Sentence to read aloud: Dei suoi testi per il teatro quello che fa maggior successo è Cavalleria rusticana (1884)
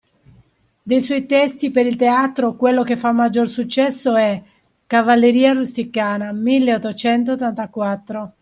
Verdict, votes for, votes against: rejected, 0, 2